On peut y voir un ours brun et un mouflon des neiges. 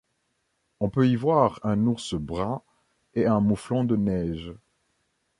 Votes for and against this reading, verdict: 1, 2, rejected